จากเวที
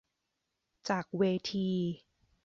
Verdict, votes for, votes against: accepted, 2, 0